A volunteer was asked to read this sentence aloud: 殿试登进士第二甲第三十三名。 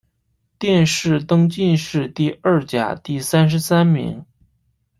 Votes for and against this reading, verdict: 1, 2, rejected